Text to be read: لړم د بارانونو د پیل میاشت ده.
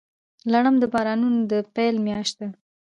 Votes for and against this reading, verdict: 2, 1, accepted